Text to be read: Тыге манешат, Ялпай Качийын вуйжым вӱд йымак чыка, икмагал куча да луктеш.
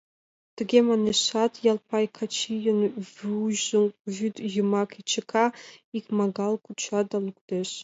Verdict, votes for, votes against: accepted, 2, 0